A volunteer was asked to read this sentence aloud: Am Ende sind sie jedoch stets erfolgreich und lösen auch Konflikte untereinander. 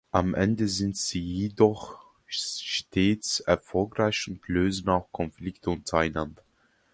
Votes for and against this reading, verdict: 0, 2, rejected